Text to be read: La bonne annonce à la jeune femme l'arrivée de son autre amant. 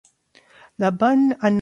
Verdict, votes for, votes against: rejected, 0, 2